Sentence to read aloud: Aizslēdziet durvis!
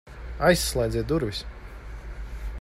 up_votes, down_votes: 2, 0